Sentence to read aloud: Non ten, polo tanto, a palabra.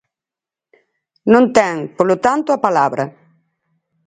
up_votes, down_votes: 4, 0